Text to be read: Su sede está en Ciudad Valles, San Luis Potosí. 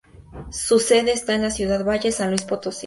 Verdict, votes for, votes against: rejected, 0, 2